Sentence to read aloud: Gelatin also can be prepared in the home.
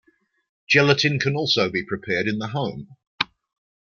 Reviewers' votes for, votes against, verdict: 2, 1, accepted